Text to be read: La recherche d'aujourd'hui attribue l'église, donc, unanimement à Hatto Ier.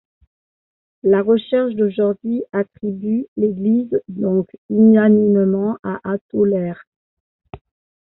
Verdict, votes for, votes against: rejected, 1, 2